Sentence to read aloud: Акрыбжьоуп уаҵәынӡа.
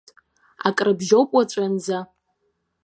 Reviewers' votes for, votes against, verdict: 2, 0, accepted